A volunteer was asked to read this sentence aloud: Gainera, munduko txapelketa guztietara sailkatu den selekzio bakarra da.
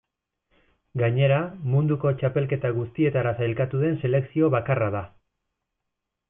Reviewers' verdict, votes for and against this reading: accepted, 2, 0